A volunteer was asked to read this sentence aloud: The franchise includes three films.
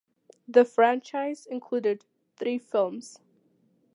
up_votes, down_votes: 2, 1